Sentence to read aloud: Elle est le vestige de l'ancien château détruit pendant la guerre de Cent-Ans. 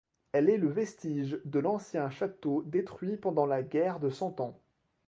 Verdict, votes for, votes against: accepted, 2, 0